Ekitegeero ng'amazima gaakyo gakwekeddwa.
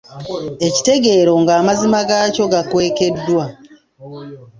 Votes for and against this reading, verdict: 2, 0, accepted